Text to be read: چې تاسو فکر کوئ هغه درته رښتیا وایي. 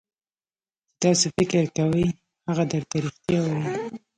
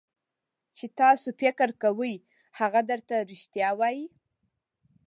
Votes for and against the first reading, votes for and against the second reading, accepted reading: 1, 2, 2, 0, second